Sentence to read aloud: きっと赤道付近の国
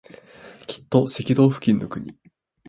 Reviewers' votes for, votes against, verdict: 2, 0, accepted